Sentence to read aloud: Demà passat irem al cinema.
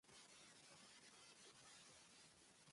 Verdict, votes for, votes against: rejected, 0, 2